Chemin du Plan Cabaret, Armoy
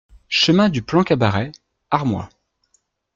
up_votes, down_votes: 2, 0